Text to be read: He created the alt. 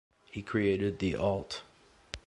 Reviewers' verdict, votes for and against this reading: accepted, 2, 0